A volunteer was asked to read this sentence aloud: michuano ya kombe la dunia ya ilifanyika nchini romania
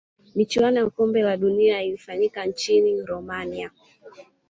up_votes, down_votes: 2, 0